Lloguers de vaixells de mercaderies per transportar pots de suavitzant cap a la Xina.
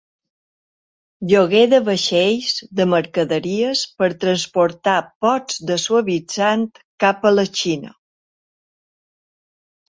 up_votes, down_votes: 1, 2